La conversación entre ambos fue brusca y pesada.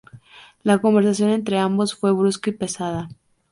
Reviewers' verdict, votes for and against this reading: accepted, 2, 0